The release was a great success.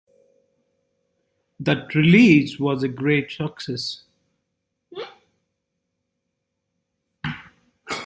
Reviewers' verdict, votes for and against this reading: accepted, 2, 0